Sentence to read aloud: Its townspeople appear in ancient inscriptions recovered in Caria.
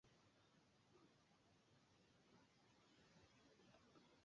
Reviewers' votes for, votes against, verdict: 1, 2, rejected